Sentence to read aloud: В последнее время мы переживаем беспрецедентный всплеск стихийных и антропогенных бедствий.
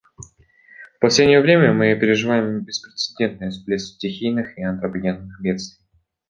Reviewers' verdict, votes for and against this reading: accepted, 2, 1